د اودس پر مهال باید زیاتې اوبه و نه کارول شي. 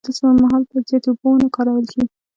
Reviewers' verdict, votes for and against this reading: accepted, 2, 1